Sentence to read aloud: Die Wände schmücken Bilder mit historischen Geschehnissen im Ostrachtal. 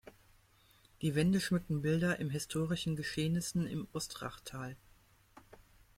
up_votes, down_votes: 0, 2